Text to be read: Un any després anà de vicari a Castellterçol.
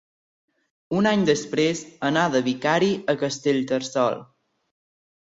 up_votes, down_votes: 2, 0